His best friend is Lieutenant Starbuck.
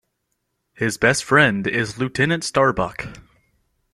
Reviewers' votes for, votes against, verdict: 2, 0, accepted